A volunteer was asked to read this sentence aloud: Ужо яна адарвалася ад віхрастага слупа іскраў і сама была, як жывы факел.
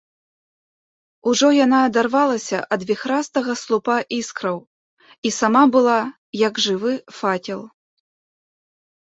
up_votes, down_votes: 3, 0